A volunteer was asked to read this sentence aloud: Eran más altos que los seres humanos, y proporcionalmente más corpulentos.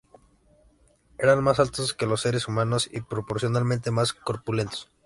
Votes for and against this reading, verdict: 2, 0, accepted